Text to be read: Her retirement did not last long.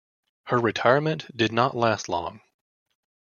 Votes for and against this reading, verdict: 2, 0, accepted